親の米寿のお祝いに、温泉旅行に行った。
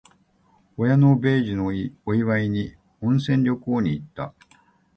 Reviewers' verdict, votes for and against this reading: accepted, 2, 0